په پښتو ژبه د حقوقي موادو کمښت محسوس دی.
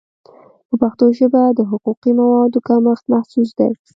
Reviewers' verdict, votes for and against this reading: accepted, 2, 1